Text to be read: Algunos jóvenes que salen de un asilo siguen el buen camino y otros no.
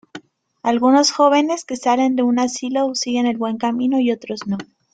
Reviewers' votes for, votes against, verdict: 2, 0, accepted